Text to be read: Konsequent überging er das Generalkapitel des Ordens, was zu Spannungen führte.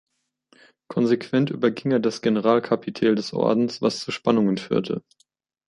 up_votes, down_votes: 0, 2